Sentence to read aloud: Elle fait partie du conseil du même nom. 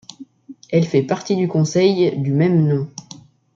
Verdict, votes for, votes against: accepted, 2, 0